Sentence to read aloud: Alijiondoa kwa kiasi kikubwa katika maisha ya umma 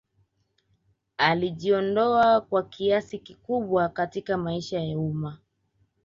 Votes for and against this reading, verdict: 2, 0, accepted